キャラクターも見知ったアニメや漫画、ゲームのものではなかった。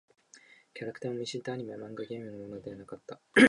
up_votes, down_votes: 1, 2